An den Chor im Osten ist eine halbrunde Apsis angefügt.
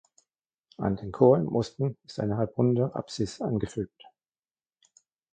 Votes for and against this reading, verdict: 2, 1, accepted